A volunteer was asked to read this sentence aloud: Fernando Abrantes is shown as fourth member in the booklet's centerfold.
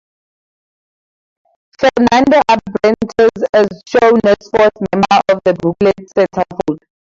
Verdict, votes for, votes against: rejected, 0, 4